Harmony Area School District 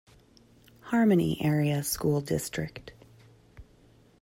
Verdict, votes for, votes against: accepted, 3, 0